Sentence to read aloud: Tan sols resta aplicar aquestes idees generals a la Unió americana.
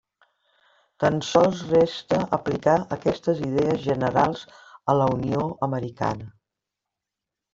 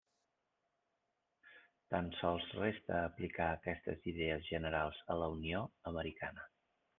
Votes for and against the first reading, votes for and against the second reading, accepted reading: 3, 1, 1, 2, first